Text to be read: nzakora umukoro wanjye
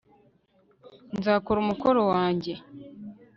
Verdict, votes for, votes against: accepted, 2, 0